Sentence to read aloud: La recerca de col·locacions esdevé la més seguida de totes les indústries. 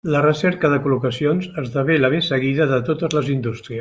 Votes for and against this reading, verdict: 1, 2, rejected